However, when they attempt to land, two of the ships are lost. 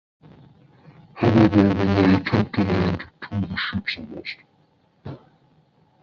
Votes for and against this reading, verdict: 0, 2, rejected